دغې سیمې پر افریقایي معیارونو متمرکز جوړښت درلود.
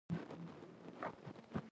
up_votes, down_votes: 2, 1